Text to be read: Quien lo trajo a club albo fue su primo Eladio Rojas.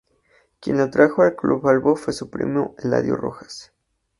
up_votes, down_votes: 2, 0